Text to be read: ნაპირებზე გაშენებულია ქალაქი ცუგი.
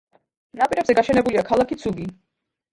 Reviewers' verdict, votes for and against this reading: accepted, 2, 1